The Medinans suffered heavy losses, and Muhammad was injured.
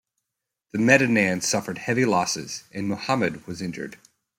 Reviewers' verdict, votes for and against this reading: accepted, 2, 0